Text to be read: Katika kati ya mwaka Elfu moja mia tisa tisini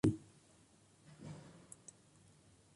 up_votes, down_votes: 1, 2